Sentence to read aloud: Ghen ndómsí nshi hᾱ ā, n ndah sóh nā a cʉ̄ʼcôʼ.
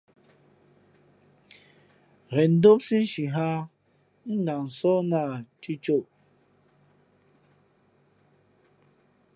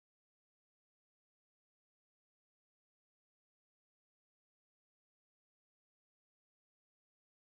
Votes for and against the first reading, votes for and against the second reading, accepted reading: 2, 0, 0, 2, first